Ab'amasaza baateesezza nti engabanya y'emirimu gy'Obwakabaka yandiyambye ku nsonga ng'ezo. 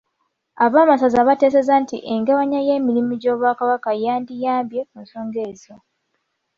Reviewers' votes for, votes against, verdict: 2, 0, accepted